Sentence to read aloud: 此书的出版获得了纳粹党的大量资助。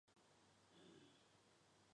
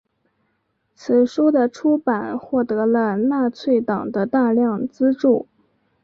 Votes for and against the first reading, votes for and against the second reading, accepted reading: 0, 2, 4, 0, second